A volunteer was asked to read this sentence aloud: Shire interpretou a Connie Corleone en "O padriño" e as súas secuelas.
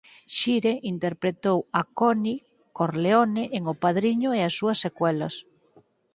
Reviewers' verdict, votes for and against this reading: accepted, 4, 0